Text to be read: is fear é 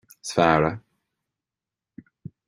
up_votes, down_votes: 2, 1